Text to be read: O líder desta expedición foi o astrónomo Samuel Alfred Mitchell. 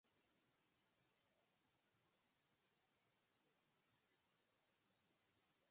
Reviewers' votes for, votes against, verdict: 0, 4, rejected